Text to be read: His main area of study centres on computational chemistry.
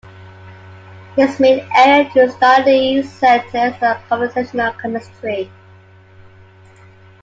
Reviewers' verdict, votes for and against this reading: rejected, 1, 2